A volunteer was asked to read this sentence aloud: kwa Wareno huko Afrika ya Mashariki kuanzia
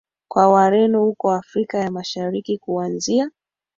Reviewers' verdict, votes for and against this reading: accepted, 3, 1